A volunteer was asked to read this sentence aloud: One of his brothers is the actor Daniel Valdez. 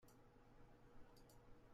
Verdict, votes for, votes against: rejected, 0, 2